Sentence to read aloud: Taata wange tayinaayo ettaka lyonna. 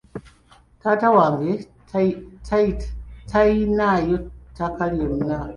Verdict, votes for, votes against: rejected, 1, 3